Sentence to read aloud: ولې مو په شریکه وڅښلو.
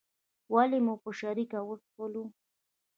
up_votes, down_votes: 2, 0